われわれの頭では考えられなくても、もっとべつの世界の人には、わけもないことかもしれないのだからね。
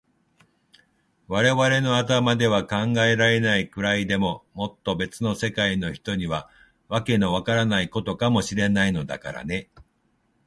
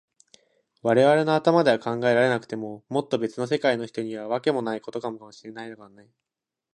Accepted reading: second